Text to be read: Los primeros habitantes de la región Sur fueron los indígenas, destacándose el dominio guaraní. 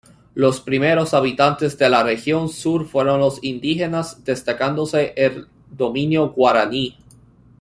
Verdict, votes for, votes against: accepted, 2, 1